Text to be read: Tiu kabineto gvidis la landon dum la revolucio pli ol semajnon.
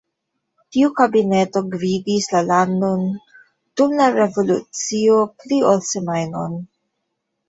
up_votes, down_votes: 2, 0